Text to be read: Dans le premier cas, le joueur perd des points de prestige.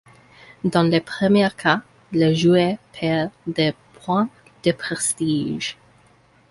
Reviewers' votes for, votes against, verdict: 2, 1, accepted